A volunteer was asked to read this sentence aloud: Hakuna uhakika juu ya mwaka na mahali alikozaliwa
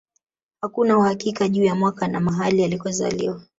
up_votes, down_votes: 1, 2